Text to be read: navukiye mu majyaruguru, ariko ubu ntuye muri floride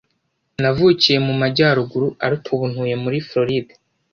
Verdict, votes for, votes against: accepted, 2, 0